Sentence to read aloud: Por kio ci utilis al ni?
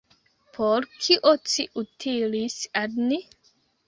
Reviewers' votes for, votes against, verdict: 0, 2, rejected